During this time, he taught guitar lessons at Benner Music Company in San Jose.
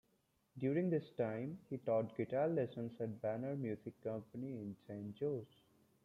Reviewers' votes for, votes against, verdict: 1, 2, rejected